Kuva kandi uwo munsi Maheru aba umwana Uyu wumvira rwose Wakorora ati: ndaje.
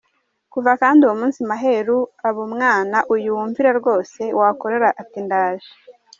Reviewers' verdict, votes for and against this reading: rejected, 1, 2